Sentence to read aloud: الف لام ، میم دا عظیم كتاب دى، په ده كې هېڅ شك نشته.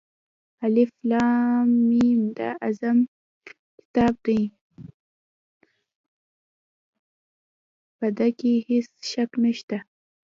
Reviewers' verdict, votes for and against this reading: rejected, 0, 2